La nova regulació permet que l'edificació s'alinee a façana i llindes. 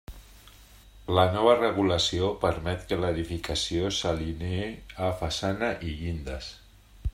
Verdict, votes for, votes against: accepted, 2, 0